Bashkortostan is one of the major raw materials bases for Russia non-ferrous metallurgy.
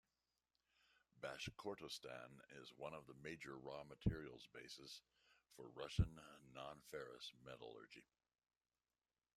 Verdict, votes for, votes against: rejected, 0, 2